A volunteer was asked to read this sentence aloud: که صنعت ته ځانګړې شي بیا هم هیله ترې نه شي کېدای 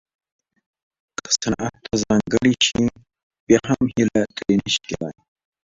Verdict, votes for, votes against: rejected, 1, 2